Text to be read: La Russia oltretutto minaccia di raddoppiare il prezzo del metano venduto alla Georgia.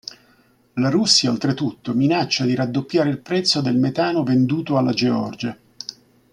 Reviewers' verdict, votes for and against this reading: accepted, 2, 0